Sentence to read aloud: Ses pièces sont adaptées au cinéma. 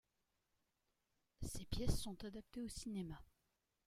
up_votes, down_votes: 2, 0